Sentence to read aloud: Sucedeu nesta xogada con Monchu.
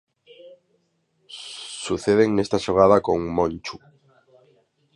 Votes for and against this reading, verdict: 1, 2, rejected